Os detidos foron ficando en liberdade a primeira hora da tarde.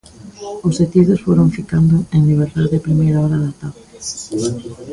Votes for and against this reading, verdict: 2, 0, accepted